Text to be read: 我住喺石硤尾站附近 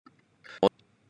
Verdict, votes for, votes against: rejected, 0, 2